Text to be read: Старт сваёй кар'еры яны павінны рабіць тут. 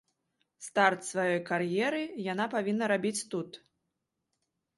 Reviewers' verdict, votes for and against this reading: rejected, 0, 2